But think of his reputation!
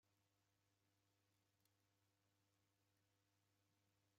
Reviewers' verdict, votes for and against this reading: rejected, 0, 2